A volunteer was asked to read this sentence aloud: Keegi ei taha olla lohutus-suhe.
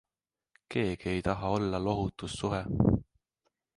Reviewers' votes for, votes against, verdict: 2, 0, accepted